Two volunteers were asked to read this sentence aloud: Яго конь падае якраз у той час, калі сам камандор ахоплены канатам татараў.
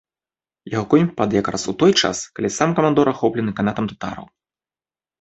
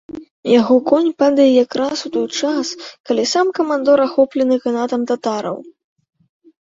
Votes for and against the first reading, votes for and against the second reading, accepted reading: 1, 2, 2, 0, second